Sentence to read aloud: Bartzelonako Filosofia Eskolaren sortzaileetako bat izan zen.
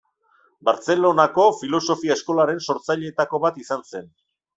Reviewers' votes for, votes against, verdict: 2, 0, accepted